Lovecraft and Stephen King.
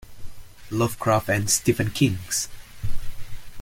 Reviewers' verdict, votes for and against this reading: rejected, 1, 2